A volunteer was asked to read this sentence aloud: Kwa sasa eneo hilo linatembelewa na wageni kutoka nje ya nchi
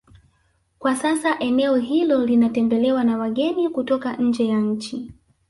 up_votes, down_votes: 0, 2